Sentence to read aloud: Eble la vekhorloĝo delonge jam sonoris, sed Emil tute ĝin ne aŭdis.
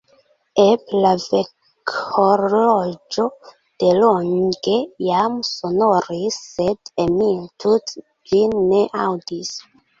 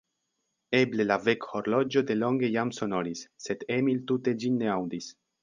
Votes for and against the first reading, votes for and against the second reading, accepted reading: 0, 2, 3, 0, second